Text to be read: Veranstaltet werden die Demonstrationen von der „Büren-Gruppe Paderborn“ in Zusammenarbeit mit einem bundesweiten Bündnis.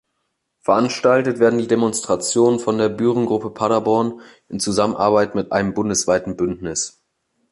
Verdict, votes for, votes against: accepted, 2, 0